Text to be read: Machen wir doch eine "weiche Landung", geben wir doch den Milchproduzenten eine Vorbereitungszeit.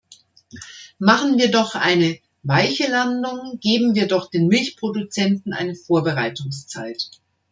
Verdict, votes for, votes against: accepted, 2, 0